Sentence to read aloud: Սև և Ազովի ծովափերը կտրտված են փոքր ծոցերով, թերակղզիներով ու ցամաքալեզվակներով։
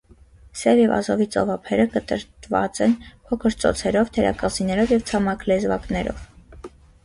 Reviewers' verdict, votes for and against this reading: rejected, 1, 2